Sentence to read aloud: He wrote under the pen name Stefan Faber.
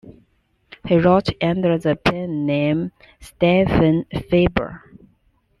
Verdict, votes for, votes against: accepted, 2, 0